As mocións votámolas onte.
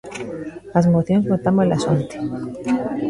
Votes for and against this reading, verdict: 0, 2, rejected